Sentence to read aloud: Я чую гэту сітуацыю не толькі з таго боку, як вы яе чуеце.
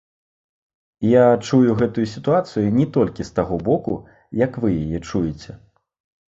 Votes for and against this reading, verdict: 1, 2, rejected